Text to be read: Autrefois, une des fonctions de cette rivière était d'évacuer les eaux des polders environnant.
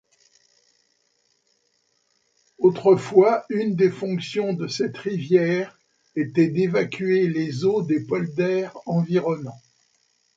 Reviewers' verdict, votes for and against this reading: accepted, 2, 0